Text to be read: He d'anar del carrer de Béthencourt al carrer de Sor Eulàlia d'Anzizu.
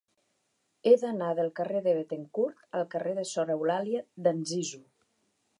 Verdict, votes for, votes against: accepted, 2, 1